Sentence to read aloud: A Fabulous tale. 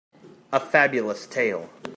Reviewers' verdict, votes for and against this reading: accepted, 2, 0